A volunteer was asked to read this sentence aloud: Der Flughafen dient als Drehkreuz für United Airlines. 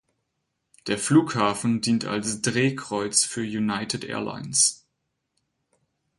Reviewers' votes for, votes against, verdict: 4, 0, accepted